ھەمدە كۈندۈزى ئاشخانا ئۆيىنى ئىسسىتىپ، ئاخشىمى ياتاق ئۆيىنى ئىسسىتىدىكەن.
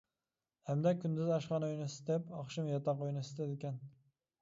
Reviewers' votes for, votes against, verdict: 0, 2, rejected